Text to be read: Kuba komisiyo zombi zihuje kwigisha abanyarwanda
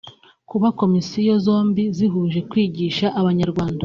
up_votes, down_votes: 3, 1